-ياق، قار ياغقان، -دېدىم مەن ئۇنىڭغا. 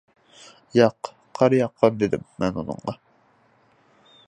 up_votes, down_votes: 2, 0